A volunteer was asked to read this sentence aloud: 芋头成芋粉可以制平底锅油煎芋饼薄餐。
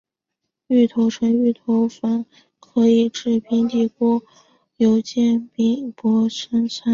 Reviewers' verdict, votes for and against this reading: rejected, 1, 2